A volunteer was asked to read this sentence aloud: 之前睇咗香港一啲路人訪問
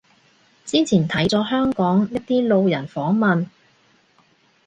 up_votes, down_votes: 2, 0